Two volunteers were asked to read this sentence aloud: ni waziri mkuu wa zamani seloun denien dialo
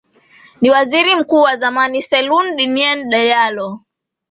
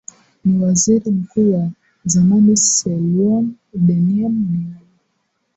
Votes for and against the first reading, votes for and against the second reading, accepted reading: 3, 1, 0, 2, first